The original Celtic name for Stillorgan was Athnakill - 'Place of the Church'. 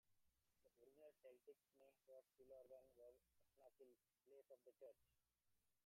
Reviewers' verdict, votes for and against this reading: rejected, 0, 2